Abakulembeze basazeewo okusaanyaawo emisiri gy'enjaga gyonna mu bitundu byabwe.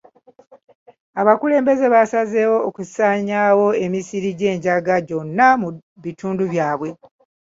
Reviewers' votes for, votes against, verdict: 3, 0, accepted